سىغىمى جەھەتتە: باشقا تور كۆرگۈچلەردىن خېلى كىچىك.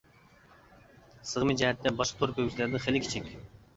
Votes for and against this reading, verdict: 0, 2, rejected